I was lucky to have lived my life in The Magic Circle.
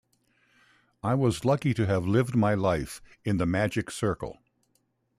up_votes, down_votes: 2, 0